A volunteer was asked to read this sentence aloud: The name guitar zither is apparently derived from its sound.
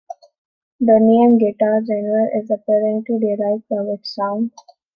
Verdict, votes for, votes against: accepted, 2, 1